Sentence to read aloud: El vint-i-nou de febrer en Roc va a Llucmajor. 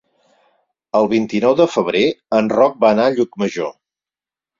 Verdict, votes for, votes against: rejected, 2, 4